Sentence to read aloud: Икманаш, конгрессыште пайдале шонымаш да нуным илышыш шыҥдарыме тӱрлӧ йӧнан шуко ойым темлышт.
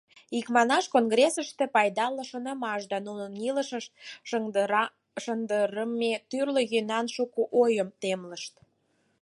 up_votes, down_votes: 0, 4